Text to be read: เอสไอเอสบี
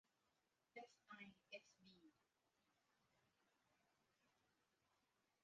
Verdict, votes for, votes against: rejected, 0, 2